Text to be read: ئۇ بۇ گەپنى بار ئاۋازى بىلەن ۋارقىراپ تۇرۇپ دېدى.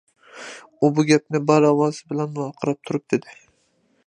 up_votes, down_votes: 2, 0